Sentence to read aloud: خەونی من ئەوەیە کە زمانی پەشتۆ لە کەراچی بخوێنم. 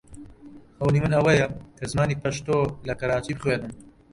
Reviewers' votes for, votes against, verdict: 0, 2, rejected